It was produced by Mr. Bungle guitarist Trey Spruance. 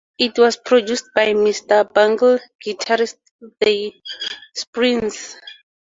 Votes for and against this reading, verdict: 2, 0, accepted